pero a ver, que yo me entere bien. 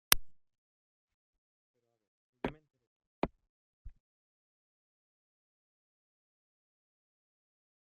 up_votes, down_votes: 0, 2